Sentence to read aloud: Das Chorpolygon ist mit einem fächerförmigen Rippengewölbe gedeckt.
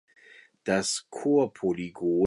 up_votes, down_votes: 0, 3